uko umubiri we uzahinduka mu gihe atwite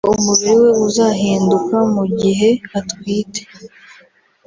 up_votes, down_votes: 0, 2